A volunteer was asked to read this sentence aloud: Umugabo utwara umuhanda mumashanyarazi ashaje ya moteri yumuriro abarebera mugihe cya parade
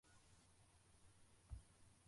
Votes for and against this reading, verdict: 0, 2, rejected